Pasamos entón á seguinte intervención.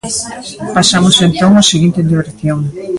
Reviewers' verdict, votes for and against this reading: rejected, 1, 2